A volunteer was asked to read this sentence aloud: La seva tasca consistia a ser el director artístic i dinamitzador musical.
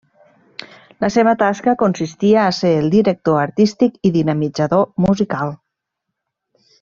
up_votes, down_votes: 3, 0